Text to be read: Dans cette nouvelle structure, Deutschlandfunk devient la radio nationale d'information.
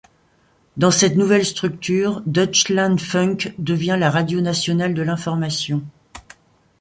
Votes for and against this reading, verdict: 1, 2, rejected